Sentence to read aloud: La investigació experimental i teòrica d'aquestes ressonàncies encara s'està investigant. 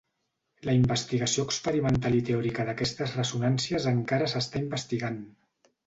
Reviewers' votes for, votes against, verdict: 3, 0, accepted